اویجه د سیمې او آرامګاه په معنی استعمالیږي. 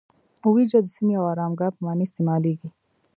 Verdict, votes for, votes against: accepted, 2, 1